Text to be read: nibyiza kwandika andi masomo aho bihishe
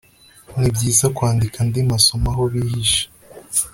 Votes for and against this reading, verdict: 2, 0, accepted